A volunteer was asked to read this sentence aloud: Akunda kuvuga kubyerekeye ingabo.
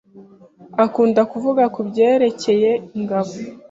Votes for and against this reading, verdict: 2, 0, accepted